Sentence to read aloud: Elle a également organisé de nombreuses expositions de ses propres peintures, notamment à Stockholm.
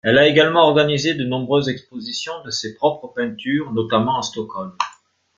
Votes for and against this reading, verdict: 2, 0, accepted